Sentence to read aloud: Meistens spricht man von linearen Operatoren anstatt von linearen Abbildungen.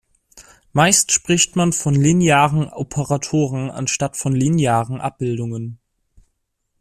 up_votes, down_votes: 2, 1